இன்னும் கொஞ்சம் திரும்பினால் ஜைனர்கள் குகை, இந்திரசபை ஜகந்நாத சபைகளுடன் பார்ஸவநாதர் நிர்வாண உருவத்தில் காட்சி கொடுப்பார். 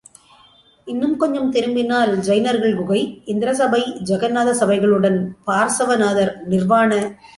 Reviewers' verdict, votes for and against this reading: rejected, 0, 2